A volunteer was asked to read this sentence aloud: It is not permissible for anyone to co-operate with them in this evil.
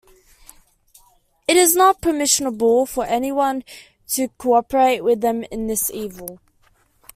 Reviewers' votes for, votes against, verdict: 1, 2, rejected